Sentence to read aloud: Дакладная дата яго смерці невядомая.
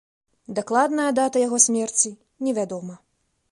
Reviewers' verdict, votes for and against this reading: accepted, 2, 0